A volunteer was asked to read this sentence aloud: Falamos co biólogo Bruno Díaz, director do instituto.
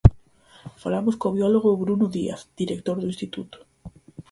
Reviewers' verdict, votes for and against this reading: accepted, 4, 0